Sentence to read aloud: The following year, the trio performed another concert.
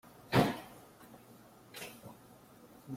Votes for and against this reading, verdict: 0, 2, rejected